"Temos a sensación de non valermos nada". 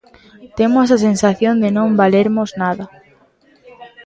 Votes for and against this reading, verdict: 1, 2, rejected